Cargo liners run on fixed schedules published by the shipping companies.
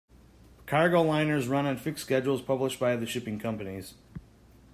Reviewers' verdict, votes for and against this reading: accepted, 2, 0